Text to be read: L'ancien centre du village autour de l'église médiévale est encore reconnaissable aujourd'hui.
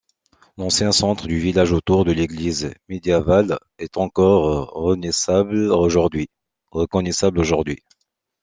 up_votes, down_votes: 0, 2